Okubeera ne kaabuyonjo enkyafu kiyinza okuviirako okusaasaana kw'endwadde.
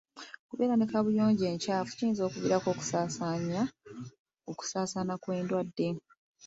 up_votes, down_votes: 2, 0